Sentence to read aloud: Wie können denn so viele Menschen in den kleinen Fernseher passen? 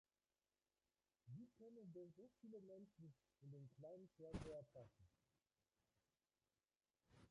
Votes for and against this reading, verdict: 0, 2, rejected